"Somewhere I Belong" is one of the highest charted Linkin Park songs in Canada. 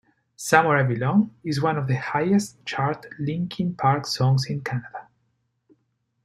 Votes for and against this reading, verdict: 2, 3, rejected